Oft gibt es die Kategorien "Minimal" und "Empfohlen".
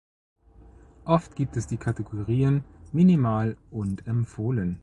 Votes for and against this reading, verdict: 2, 0, accepted